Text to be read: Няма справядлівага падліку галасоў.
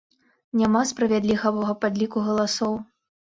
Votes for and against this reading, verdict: 1, 2, rejected